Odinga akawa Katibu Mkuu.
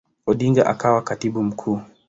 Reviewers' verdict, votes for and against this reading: accepted, 2, 0